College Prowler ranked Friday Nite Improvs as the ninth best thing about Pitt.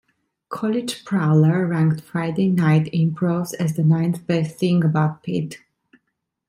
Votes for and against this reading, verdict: 1, 2, rejected